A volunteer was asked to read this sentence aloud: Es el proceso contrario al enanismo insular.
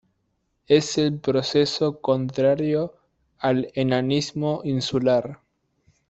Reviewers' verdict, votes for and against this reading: rejected, 0, 2